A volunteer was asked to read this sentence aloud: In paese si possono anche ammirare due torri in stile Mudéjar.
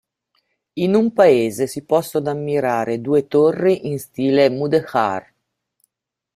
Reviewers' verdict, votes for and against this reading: rejected, 0, 2